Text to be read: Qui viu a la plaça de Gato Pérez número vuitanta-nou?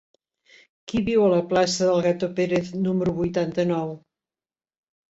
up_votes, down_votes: 0, 2